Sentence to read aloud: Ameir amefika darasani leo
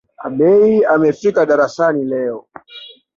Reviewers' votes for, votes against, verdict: 2, 1, accepted